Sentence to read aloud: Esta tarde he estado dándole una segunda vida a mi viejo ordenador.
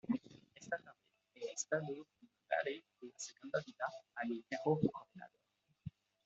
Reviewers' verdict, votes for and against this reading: rejected, 1, 2